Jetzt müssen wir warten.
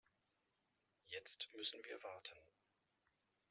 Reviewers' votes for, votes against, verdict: 1, 2, rejected